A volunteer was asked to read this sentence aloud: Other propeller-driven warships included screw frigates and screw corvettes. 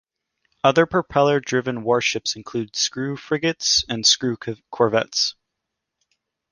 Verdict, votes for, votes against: rejected, 1, 2